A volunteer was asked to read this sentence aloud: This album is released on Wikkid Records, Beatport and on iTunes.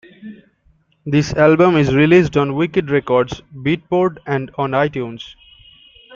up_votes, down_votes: 2, 1